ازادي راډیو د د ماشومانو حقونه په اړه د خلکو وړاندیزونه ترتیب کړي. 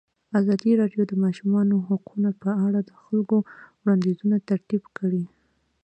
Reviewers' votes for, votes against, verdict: 2, 0, accepted